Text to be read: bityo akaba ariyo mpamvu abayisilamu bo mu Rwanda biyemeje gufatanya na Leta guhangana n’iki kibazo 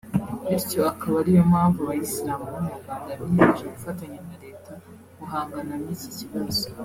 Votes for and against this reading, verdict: 2, 1, accepted